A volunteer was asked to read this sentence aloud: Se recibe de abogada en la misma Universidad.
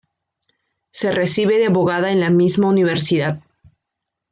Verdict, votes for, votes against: accepted, 2, 0